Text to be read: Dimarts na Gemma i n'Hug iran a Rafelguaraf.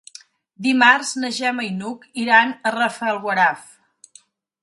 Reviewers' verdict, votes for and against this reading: accepted, 2, 0